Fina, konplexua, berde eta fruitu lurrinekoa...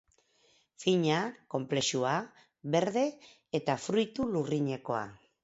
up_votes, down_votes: 4, 0